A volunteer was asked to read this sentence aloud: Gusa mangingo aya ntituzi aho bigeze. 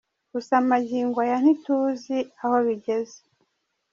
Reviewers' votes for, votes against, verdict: 2, 0, accepted